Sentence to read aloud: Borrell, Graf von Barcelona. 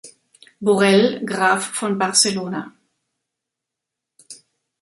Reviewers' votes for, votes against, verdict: 1, 2, rejected